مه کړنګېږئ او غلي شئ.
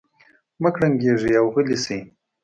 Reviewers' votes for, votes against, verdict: 2, 0, accepted